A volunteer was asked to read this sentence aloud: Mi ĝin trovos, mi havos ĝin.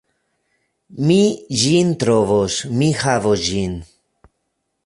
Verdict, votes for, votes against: rejected, 0, 2